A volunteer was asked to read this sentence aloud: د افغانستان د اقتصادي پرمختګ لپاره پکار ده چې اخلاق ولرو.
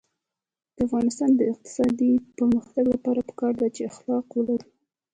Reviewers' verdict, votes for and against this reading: accepted, 3, 1